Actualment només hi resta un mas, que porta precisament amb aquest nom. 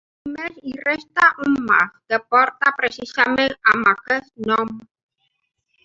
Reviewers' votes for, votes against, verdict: 0, 2, rejected